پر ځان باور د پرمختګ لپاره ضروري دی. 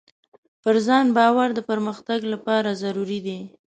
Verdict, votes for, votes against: accepted, 2, 0